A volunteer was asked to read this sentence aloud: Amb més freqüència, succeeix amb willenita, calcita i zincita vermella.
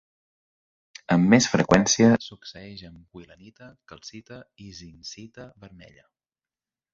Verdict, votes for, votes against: rejected, 1, 2